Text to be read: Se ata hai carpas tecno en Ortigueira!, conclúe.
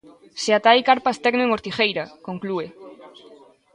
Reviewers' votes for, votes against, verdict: 2, 1, accepted